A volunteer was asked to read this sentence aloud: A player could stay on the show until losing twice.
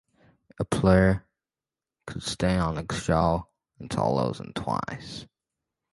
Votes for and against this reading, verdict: 1, 2, rejected